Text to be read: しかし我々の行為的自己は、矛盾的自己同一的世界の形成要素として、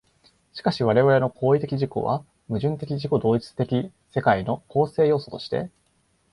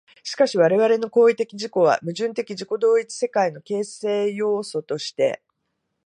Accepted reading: second